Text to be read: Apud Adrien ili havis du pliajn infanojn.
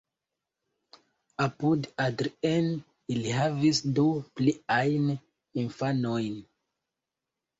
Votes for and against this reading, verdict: 0, 2, rejected